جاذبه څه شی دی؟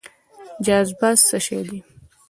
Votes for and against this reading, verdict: 2, 0, accepted